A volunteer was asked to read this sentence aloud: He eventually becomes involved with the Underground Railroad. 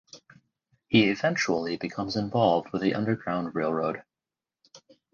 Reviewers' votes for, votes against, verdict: 2, 2, rejected